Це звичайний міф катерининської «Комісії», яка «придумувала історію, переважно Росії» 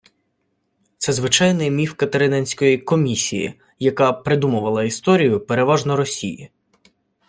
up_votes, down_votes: 2, 0